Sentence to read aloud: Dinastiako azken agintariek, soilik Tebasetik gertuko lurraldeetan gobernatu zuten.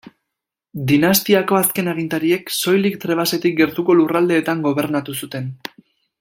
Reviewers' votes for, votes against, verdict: 1, 2, rejected